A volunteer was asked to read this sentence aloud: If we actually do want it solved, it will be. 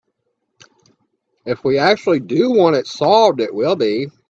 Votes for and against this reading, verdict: 2, 0, accepted